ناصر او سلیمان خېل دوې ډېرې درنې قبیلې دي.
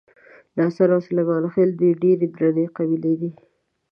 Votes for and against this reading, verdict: 1, 2, rejected